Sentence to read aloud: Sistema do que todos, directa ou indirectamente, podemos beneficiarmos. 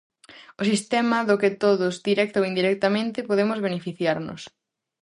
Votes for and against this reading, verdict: 0, 2, rejected